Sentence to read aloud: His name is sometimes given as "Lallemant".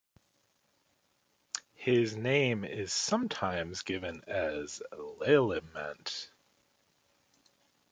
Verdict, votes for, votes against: rejected, 1, 2